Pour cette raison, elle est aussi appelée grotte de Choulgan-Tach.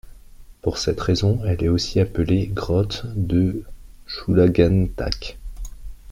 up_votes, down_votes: 1, 2